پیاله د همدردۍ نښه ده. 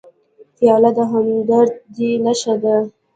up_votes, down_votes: 1, 2